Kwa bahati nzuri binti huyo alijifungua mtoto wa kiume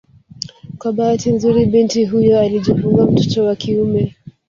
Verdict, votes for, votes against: rejected, 0, 2